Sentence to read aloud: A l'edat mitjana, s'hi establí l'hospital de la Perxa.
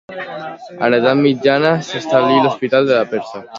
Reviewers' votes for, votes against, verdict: 2, 1, accepted